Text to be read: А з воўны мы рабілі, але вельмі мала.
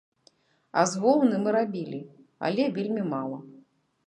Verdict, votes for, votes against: accepted, 3, 0